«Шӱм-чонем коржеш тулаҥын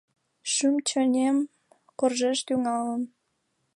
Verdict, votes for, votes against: rejected, 1, 2